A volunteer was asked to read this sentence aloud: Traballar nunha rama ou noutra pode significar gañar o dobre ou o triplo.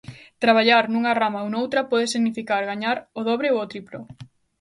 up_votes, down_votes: 1, 2